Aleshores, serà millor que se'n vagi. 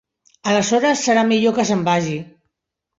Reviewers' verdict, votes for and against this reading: rejected, 1, 2